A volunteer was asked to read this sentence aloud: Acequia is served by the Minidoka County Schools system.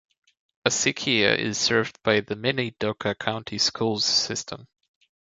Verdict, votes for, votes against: accepted, 2, 0